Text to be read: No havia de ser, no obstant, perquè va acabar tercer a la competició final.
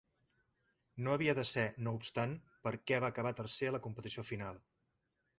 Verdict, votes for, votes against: rejected, 1, 2